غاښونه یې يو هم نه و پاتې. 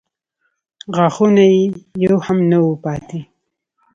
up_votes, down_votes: 2, 0